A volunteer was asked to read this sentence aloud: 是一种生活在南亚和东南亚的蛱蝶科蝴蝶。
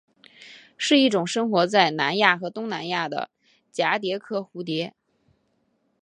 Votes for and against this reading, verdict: 3, 0, accepted